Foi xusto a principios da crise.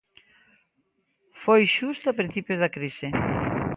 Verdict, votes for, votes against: accepted, 2, 0